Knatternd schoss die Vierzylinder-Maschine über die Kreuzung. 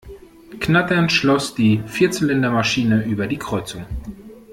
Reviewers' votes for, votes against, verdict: 0, 2, rejected